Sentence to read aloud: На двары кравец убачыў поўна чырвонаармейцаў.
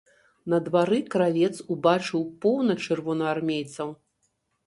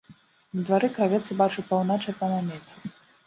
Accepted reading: first